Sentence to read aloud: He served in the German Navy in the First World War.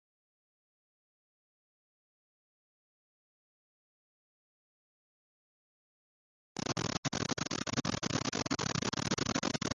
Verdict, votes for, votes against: rejected, 0, 2